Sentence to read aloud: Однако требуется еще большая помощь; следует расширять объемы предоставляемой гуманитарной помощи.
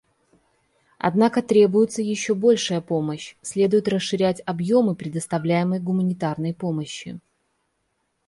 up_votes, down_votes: 2, 0